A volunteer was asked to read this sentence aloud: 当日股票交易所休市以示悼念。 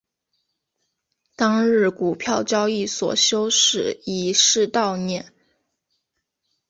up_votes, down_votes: 2, 0